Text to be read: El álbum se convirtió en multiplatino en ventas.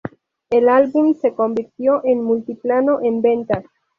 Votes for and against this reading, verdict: 0, 2, rejected